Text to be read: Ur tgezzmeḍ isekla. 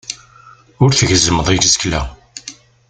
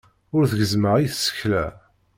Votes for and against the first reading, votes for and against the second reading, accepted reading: 2, 0, 1, 2, first